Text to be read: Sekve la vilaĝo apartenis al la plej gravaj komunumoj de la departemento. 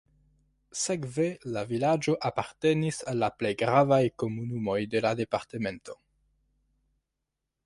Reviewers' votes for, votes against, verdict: 2, 0, accepted